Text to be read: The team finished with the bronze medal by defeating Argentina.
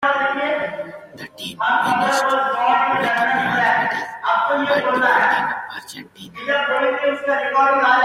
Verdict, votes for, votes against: rejected, 0, 2